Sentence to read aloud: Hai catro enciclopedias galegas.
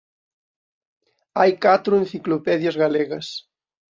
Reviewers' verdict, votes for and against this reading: accepted, 2, 1